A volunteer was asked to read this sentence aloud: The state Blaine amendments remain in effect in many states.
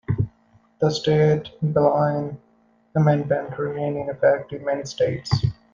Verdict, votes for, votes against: rejected, 0, 2